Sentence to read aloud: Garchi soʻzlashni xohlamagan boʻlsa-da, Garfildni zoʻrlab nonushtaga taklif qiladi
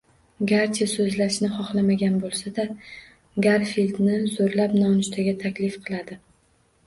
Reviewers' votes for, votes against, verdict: 2, 0, accepted